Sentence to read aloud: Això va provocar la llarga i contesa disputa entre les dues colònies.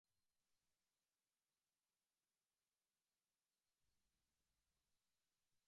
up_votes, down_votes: 0, 2